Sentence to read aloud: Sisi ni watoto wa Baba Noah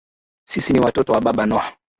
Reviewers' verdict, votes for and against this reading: accepted, 4, 0